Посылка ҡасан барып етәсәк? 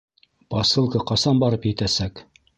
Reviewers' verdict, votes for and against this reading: accepted, 2, 0